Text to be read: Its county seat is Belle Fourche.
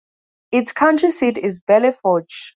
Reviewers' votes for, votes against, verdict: 0, 2, rejected